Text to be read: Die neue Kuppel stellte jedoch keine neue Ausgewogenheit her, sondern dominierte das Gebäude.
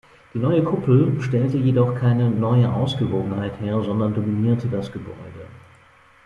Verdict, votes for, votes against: rejected, 0, 2